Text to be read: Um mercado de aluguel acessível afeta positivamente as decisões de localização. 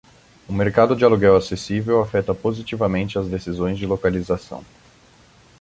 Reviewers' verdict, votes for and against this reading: accepted, 2, 0